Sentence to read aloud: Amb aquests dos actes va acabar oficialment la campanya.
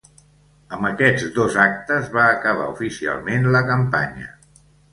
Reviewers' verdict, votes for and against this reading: accepted, 2, 0